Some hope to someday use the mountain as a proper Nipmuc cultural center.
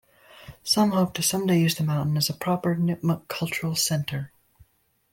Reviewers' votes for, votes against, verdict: 1, 2, rejected